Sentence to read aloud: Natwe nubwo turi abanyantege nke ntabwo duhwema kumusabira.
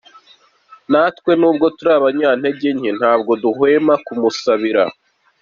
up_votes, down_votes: 2, 0